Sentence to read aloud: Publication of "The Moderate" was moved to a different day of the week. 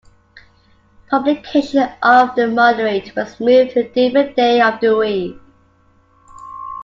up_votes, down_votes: 2, 1